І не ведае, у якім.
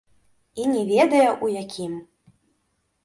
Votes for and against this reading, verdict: 0, 3, rejected